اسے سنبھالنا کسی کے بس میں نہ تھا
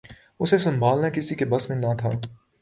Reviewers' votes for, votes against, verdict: 3, 0, accepted